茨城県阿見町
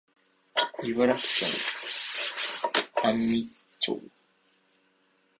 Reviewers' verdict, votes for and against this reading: rejected, 1, 2